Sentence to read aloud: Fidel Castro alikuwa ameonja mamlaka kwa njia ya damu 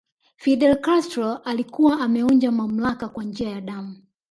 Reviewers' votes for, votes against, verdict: 2, 1, accepted